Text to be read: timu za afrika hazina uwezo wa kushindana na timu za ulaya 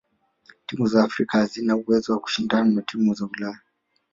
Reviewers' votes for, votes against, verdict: 2, 1, accepted